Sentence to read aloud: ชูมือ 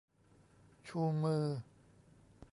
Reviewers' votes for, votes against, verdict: 2, 0, accepted